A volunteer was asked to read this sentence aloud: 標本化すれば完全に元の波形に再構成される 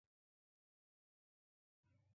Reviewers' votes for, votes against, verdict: 1, 2, rejected